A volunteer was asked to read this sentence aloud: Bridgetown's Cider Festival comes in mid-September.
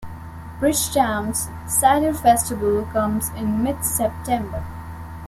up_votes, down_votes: 3, 0